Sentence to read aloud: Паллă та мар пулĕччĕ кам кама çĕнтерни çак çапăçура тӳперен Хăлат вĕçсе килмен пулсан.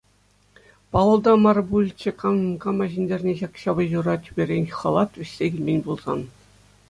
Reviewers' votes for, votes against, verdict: 2, 0, accepted